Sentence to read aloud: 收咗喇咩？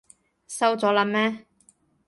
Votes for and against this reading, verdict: 2, 0, accepted